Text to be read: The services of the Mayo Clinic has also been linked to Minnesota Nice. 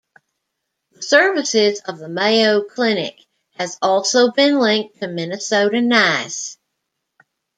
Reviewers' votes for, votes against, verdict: 0, 2, rejected